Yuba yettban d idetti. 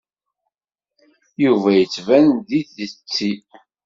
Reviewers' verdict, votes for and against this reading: rejected, 0, 2